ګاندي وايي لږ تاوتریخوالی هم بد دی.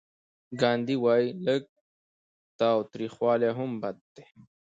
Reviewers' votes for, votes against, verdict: 2, 0, accepted